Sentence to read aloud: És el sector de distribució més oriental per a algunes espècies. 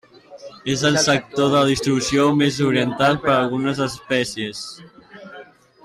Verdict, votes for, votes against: rejected, 1, 2